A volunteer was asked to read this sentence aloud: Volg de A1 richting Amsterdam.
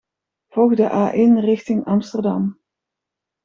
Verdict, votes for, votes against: rejected, 0, 2